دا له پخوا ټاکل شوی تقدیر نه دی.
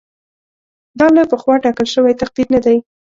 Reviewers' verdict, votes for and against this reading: accepted, 2, 0